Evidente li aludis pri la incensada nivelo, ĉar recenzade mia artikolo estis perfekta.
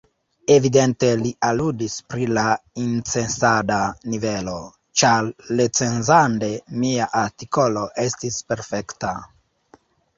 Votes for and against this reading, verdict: 1, 2, rejected